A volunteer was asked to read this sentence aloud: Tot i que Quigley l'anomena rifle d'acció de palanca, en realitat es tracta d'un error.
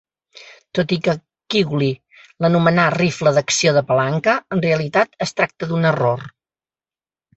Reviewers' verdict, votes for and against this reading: rejected, 1, 2